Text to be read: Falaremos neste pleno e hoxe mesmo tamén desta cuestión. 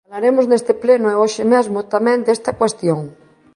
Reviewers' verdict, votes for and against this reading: rejected, 1, 2